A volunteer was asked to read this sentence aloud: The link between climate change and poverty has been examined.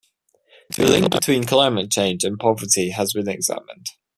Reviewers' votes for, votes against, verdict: 2, 1, accepted